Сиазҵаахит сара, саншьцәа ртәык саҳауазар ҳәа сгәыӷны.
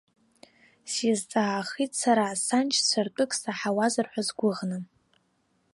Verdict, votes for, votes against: rejected, 1, 2